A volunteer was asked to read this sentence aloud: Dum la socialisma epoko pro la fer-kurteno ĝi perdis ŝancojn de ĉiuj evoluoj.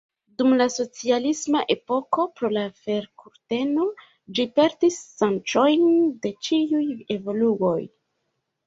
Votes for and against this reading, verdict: 0, 2, rejected